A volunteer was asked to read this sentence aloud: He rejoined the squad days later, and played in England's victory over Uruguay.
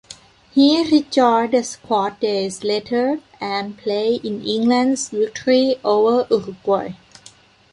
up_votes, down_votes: 1, 2